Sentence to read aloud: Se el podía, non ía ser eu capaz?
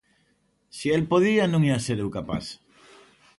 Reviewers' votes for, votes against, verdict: 2, 0, accepted